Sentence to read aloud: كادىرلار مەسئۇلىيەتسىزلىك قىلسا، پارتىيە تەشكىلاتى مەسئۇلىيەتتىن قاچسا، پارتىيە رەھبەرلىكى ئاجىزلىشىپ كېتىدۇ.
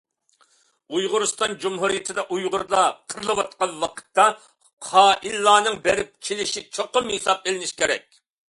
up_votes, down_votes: 0, 2